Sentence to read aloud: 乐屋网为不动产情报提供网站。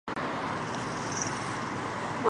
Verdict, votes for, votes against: rejected, 0, 3